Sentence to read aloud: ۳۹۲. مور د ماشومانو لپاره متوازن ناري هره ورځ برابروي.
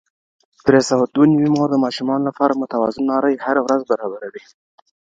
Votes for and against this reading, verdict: 0, 2, rejected